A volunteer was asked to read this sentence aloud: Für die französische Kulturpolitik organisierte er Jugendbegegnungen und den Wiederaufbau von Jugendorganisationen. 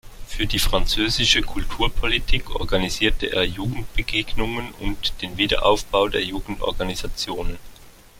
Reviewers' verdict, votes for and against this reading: rejected, 0, 2